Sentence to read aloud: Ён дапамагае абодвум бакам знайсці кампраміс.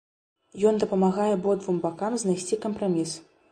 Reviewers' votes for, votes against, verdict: 2, 0, accepted